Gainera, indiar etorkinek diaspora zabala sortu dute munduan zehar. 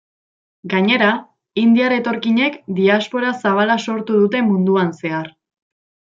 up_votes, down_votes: 2, 0